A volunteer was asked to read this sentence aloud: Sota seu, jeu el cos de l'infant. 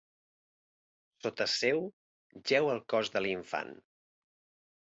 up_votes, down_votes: 2, 0